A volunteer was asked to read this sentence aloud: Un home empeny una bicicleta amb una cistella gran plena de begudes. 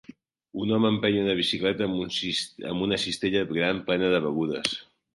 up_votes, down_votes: 0, 2